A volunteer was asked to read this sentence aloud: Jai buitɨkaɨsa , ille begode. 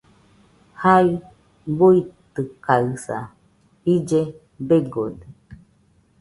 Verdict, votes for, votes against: accepted, 2, 0